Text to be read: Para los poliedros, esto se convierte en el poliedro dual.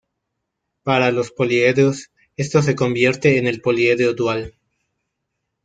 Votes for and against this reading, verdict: 1, 2, rejected